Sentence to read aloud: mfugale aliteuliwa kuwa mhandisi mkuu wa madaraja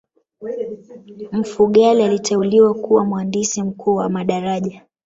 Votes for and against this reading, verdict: 1, 2, rejected